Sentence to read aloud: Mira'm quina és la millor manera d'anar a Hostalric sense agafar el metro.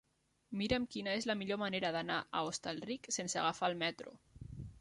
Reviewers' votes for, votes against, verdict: 3, 0, accepted